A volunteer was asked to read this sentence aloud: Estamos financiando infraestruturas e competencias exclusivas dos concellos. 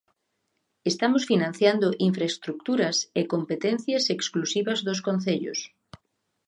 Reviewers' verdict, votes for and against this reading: rejected, 1, 2